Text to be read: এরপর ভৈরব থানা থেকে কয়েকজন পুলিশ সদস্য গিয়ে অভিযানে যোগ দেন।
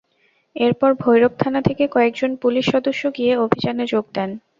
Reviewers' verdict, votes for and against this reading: accepted, 2, 0